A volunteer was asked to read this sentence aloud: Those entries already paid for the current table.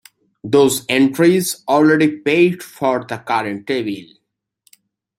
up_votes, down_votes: 0, 2